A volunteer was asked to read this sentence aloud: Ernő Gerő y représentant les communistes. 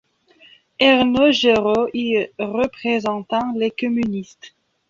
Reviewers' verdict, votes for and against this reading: rejected, 0, 2